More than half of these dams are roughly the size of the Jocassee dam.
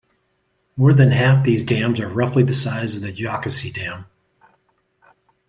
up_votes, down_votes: 0, 2